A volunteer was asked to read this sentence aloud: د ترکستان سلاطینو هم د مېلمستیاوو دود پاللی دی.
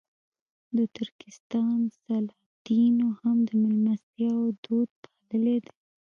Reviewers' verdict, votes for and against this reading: rejected, 0, 2